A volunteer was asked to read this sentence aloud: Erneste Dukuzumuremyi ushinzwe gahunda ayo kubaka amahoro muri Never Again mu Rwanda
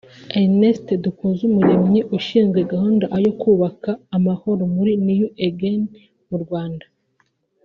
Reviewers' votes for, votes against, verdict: 1, 2, rejected